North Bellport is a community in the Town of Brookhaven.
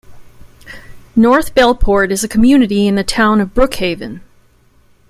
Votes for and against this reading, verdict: 2, 0, accepted